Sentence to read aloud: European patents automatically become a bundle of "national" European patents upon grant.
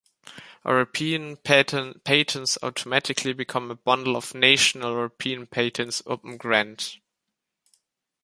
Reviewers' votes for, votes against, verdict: 1, 2, rejected